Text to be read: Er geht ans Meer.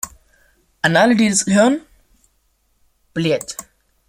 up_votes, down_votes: 0, 2